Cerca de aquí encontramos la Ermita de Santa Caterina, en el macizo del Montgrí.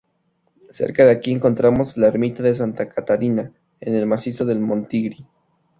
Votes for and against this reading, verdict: 0, 2, rejected